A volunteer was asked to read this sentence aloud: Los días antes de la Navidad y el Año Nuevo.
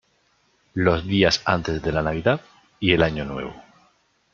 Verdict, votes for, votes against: accepted, 2, 0